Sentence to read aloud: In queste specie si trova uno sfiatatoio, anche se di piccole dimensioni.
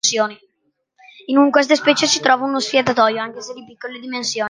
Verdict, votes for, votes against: rejected, 0, 2